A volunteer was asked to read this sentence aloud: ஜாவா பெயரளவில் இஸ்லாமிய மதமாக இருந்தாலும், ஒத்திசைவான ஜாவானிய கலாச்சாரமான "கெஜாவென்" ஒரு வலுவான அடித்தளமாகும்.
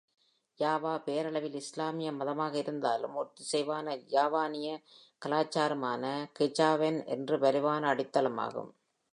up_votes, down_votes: 2, 0